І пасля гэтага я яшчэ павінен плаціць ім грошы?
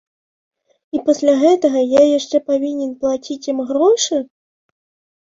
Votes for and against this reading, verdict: 2, 0, accepted